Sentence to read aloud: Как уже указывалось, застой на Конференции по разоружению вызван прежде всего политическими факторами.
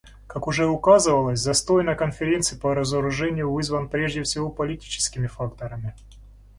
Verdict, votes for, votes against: accepted, 2, 0